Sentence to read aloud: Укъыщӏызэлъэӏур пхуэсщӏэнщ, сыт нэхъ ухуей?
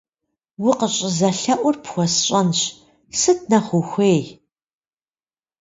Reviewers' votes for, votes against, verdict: 2, 0, accepted